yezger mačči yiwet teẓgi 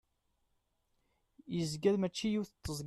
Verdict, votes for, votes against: rejected, 0, 2